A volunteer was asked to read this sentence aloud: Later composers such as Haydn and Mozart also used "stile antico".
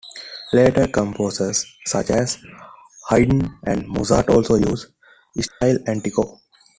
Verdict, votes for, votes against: accepted, 2, 1